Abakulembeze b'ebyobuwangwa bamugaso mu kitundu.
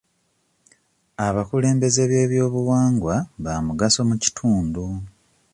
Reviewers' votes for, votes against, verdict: 2, 1, accepted